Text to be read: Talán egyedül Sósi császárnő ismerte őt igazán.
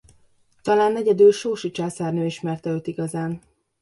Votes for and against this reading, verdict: 2, 0, accepted